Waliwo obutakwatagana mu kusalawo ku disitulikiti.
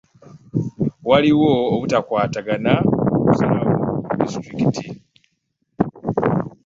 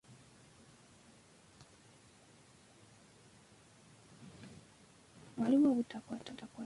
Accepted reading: first